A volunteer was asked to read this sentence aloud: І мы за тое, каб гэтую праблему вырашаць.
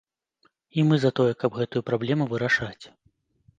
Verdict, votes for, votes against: accepted, 2, 0